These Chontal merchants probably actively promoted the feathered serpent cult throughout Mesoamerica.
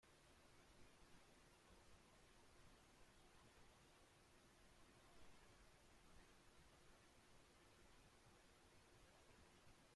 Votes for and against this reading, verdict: 0, 2, rejected